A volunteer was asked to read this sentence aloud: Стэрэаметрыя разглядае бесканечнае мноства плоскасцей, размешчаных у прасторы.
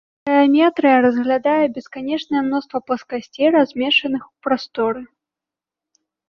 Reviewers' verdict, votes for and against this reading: rejected, 0, 2